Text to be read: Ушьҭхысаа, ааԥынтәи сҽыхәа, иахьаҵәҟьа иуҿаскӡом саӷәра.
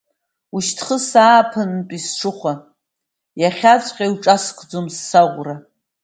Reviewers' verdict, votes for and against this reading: accepted, 2, 0